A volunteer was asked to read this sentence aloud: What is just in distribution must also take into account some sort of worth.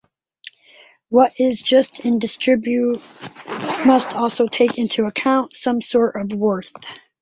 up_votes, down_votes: 0, 2